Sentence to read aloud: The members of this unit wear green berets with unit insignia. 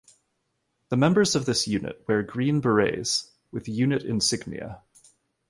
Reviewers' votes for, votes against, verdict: 2, 0, accepted